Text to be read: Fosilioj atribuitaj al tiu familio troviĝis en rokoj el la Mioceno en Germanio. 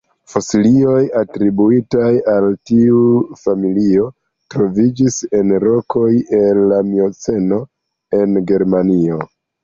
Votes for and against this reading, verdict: 2, 1, accepted